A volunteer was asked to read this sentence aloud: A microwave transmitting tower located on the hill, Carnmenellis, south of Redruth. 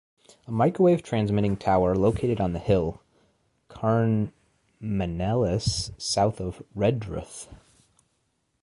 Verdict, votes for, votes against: rejected, 1, 2